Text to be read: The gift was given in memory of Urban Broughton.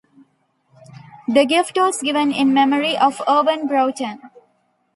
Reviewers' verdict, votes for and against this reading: accepted, 2, 1